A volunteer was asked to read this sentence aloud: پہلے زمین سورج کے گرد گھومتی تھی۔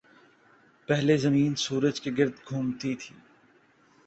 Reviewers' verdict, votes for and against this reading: accepted, 2, 0